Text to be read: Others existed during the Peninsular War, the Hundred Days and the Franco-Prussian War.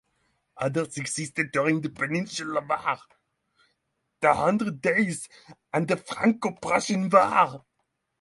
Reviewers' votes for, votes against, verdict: 3, 3, rejected